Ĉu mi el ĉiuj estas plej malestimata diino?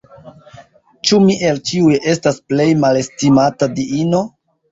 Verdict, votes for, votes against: accepted, 2, 0